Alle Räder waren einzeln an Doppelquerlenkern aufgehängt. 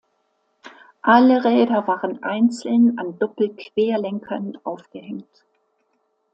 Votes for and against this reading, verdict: 2, 0, accepted